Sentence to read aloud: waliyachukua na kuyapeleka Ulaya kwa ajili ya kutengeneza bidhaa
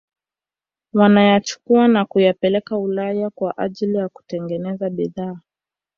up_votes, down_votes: 1, 2